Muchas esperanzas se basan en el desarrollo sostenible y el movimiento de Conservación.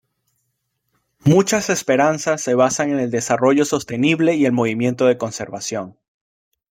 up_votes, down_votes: 2, 0